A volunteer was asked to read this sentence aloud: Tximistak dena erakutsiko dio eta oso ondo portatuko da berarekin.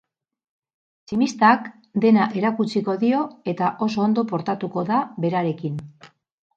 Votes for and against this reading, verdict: 4, 0, accepted